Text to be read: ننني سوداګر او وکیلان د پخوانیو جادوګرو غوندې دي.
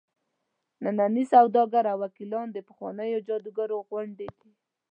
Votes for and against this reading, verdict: 2, 0, accepted